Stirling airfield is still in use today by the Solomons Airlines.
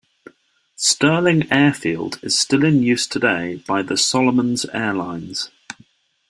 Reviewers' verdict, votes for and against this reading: accepted, 2, 0